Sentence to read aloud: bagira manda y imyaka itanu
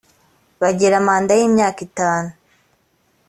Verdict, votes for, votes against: accepted, 2, 0